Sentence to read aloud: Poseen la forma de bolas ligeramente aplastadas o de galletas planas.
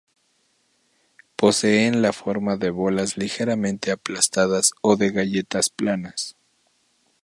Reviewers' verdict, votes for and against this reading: accepted, 2, 0